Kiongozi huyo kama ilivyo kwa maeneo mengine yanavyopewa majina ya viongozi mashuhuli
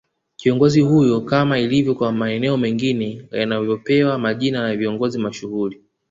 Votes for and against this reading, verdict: 2, 0, accepted